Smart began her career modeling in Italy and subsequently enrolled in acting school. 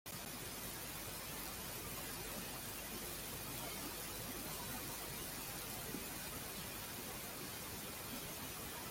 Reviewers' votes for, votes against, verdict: 0, 2, rejected